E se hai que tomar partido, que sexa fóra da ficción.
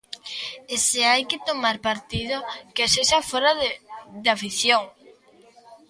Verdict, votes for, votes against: rejected, 0, 2